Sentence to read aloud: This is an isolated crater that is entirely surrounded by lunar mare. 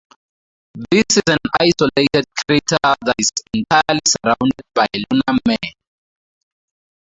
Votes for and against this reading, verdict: 2, 2, rejected